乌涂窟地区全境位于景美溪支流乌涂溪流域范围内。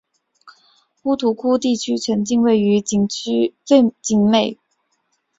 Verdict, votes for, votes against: rejected, 1, 2